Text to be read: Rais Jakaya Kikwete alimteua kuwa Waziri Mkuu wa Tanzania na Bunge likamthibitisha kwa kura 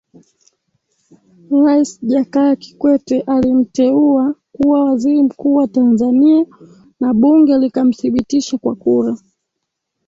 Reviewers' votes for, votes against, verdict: 1, 3, rejected